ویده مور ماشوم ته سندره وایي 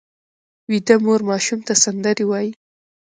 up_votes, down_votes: 1, 2